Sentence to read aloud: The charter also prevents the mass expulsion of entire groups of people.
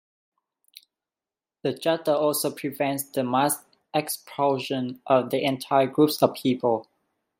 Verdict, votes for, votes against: rejected, 1, 2